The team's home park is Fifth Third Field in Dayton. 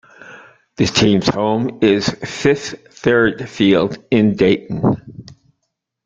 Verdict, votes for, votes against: rejected, 0, 2